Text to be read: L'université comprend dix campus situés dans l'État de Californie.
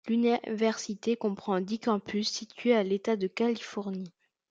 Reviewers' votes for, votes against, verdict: 0, 2, rejected